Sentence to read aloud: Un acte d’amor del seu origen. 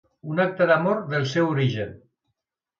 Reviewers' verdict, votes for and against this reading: accepted, 2, 0